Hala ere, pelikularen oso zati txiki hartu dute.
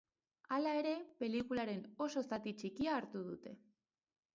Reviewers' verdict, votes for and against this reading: rejected, 0, 4